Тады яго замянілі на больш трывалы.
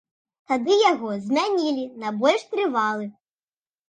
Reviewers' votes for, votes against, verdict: 0, 2, rejected